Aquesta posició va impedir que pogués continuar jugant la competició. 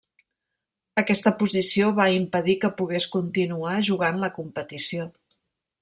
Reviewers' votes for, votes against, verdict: 2, 0, accepted